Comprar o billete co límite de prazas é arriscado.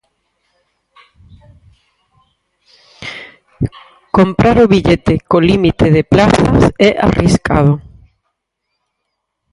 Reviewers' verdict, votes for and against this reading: rejected, 0, 4